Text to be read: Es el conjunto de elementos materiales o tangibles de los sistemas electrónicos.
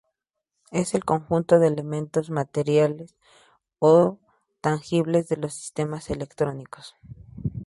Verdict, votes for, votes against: accepted, 2, 0